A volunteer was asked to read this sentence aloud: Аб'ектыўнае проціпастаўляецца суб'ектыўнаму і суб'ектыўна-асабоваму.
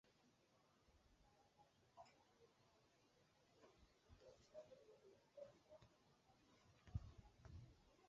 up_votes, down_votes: 0, 2